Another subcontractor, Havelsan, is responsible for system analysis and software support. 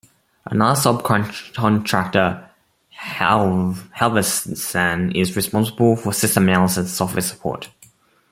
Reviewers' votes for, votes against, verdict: 1, 2, rejected